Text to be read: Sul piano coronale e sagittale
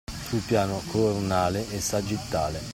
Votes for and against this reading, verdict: 2, 0, accepted